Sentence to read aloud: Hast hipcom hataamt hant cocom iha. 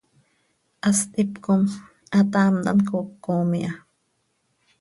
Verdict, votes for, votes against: accepted, 2, 0